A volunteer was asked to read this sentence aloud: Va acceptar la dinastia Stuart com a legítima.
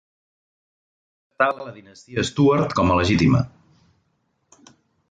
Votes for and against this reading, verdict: 0, 2, rejected